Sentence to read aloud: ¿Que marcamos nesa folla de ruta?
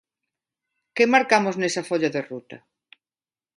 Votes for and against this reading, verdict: 2, 0, accepted